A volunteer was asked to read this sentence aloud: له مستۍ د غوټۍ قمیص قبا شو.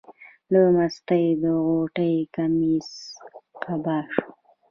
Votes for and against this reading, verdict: 2, 1, accepted